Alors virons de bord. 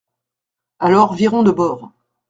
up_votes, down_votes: 2, 0